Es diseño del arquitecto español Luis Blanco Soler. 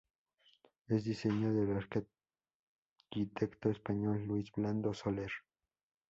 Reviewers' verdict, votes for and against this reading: rejected, 0, 2